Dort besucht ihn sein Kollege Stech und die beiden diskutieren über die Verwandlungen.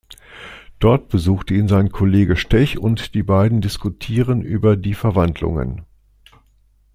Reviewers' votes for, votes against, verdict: 2, 0, accepted